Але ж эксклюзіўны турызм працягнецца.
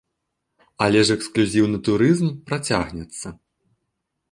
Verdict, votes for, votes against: accepted, 2, 0